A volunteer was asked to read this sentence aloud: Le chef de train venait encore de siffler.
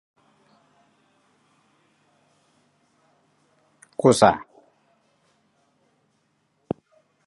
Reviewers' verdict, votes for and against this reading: rejected, 0, 2